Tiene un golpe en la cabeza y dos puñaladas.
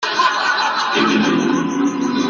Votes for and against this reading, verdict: 0, 2, rejected